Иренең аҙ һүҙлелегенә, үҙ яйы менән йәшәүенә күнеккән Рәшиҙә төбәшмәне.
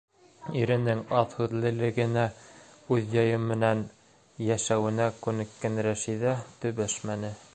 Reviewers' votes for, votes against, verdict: 3, 0, accepted